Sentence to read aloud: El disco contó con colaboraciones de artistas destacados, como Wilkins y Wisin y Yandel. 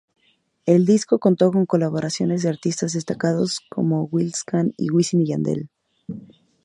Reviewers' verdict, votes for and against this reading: rejected, 0, 2